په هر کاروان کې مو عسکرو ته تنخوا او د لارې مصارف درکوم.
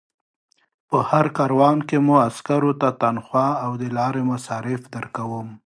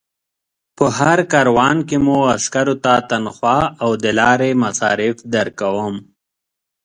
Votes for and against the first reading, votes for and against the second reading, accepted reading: 1, 2, 2, 0, second